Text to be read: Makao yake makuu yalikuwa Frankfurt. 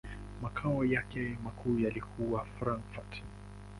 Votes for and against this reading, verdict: 2, 0, accepted